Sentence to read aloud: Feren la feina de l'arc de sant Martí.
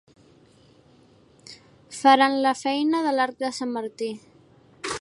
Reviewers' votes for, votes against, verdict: 1, 2, rejected